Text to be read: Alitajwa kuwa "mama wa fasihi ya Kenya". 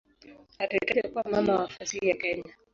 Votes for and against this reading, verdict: 1, 2, rejected